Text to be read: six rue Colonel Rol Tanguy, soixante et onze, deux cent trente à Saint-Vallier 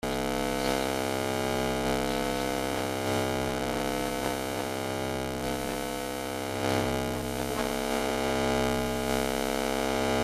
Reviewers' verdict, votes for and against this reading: rejected, 0, 2